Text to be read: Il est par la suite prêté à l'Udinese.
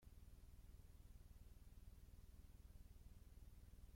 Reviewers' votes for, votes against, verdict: 0, 2, rejected